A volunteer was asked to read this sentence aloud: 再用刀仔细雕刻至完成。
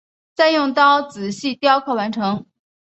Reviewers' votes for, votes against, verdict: 2, 0, accepted